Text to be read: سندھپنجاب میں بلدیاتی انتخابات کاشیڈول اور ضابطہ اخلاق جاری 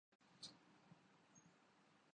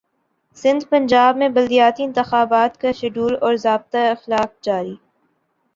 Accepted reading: second